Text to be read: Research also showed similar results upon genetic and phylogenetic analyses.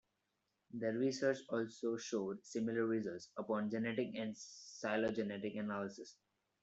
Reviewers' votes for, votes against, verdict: 0, 2, rejected